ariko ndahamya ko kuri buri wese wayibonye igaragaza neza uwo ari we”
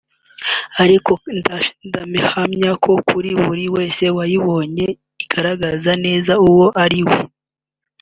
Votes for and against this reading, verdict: 2, 3, rejected